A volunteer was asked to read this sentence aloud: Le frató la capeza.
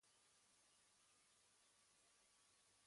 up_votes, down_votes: 1, 2